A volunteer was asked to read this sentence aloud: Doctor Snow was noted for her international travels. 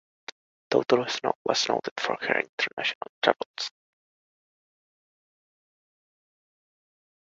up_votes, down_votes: 2, 1